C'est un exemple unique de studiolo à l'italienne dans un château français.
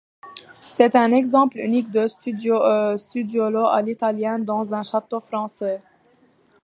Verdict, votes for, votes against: rejected, 0, 2